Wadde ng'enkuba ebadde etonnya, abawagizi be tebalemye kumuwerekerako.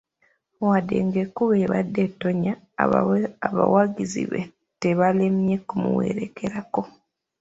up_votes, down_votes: 3, 2